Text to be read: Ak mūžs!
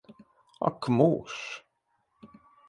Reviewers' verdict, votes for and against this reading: accepted, 4, 0